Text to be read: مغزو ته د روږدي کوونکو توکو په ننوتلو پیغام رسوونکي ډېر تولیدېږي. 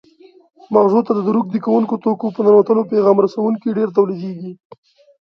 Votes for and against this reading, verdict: 0, 2, rejected